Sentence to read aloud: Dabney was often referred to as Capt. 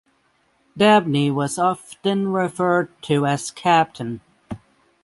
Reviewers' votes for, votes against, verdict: 3, 6, rejected